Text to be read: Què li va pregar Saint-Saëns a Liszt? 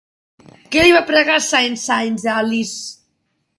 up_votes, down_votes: 0, 2